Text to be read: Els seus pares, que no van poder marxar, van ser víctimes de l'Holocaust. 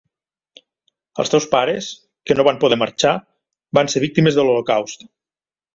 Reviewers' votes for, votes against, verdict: 3, 4, rejected